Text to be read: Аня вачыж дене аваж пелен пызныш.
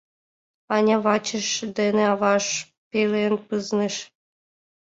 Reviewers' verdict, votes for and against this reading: accepted, 2, 0